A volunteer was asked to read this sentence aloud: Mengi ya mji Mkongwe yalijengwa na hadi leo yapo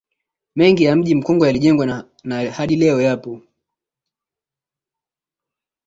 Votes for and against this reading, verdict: 2, 0, accepted